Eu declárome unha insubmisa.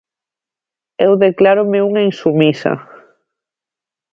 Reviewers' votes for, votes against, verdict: 2, 0, accepted